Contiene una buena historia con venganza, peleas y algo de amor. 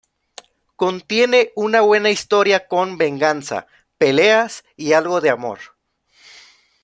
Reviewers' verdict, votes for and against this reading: accepted, 2, 0